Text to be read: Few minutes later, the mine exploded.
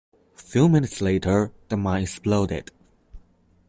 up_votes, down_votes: 0, 2